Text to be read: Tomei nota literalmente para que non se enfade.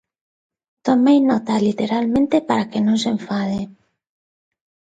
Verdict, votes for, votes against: accepted, 2, 0